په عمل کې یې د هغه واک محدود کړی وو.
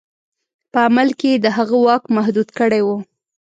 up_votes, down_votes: 2, 0